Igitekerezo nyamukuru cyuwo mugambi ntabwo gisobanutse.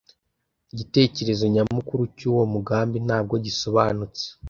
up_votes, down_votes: 2, 0